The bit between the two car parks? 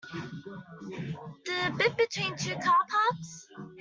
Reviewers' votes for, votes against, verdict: 0, 2, rejected